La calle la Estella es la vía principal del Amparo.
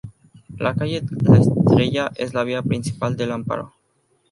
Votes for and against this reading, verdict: 0, 2, rejected